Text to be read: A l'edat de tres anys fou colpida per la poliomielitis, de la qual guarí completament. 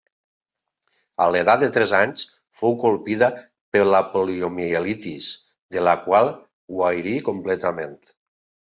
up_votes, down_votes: 2, 1